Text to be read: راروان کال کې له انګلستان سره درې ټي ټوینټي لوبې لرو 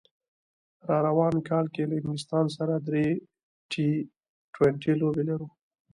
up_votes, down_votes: 2, 0